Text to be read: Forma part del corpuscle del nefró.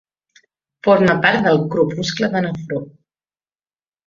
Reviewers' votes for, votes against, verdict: 0, 2, rejected